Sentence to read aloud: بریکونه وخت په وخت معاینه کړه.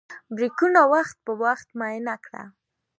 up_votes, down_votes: 2, 0